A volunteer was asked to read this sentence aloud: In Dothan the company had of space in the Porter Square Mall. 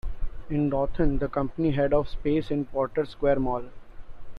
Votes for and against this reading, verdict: 1, 2, rejected